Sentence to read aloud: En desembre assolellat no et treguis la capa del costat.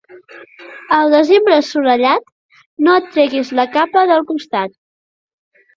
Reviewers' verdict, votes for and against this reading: rejected, 0, 2